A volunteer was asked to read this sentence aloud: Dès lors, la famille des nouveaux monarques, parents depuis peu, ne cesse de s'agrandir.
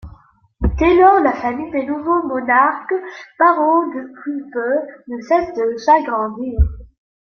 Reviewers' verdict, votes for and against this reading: accepted, 2, 0